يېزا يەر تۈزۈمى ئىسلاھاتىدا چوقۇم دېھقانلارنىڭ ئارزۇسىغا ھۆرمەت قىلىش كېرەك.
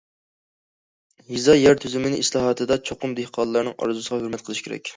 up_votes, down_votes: 2, 0